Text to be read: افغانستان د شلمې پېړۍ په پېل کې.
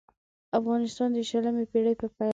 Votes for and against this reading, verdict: 1, 2, rejected